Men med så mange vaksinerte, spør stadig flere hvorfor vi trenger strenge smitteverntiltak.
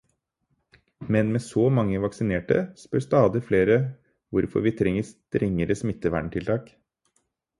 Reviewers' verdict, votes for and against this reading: rejected, 0, 4